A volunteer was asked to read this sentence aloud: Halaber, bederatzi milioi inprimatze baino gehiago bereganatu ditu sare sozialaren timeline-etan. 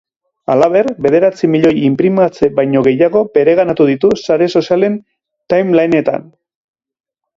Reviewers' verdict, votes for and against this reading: rejected, 0, 2